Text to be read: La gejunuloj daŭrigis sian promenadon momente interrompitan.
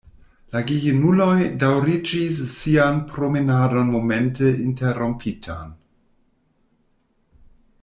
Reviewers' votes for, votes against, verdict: 1, 2, rejected